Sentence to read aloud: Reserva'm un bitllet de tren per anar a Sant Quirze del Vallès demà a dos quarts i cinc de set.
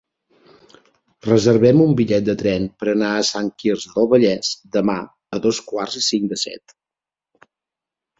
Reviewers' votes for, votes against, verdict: 0, 2, rejected